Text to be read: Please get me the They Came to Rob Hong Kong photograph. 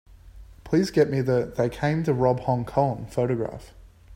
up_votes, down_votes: 3, 0